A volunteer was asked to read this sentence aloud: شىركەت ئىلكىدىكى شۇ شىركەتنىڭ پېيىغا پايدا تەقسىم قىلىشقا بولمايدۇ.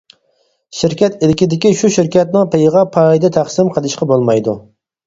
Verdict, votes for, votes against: accepted, 4, 0